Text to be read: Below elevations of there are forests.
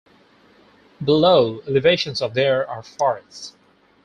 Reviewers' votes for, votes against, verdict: 2, 2, rejected